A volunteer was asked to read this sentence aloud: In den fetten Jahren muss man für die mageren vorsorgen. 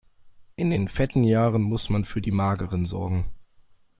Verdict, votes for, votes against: rejected, 0, 2